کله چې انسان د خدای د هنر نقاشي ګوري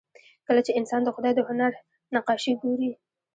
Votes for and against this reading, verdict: 1, 2, rejected